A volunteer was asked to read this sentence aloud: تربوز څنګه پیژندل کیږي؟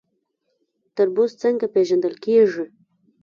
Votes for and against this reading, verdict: 0, 2, rejected